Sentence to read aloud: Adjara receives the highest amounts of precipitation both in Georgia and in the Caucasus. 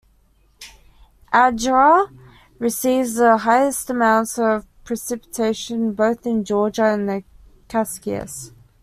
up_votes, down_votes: 1, 2